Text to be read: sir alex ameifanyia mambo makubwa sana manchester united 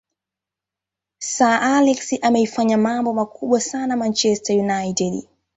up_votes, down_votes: 2, 1